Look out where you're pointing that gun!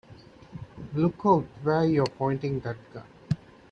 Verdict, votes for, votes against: rejected, 1, 2